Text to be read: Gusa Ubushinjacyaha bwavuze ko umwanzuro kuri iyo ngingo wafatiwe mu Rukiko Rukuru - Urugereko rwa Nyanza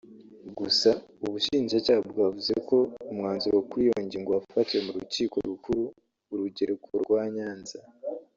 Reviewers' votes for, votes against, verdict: 2, 0, accepted